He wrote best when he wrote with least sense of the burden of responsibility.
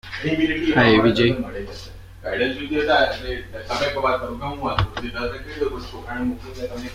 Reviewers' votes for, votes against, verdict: 0, 3, rejected